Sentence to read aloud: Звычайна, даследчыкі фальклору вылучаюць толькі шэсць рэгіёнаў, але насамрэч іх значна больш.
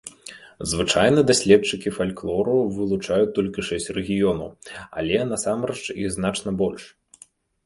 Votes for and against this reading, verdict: 3, 0, accepted